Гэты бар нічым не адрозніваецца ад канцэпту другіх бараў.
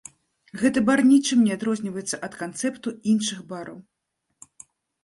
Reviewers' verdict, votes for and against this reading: rejected, 0, 2